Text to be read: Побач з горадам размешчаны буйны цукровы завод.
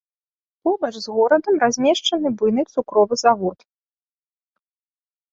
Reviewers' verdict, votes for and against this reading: accepted, 2, 0